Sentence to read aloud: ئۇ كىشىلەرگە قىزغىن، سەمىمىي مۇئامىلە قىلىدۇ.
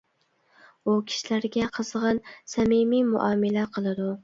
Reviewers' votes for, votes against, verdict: 2, 0, accepted